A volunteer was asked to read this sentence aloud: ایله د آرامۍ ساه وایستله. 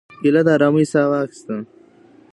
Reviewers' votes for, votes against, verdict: 2, 1, accepted